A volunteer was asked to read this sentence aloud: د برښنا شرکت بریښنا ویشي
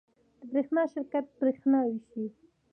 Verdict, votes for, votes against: rejected, 0, 2